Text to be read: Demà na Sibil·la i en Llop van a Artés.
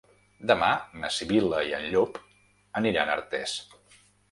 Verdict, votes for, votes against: rejected, 0, 2